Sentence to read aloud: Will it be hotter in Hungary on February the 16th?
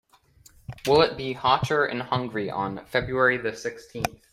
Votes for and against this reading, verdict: 0, 2, rejected